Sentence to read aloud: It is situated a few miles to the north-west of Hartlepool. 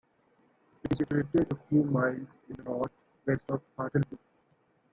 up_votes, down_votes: 0, 2